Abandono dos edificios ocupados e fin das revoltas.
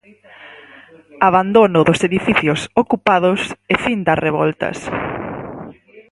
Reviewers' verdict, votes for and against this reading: accepted, 6, 0